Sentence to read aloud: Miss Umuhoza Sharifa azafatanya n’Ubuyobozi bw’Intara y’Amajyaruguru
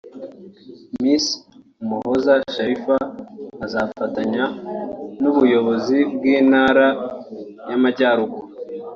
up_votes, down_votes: 3, 0